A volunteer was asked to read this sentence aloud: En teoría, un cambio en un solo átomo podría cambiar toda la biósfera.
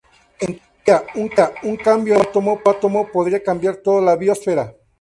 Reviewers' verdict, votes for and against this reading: rejected, 0, 4